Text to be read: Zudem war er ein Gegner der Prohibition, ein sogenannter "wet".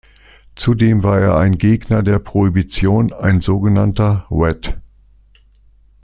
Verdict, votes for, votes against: accepted, 2, 0